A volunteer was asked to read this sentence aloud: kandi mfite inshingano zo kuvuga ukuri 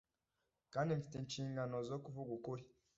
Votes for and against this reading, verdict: 2, 0, accepted